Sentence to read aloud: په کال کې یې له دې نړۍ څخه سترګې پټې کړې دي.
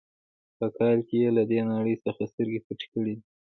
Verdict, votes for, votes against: rejected, 1, 2